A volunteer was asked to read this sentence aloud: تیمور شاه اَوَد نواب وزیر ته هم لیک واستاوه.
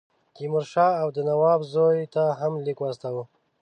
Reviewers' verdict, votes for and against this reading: rejected, 0, 2